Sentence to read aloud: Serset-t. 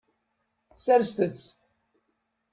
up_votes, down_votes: 2, 0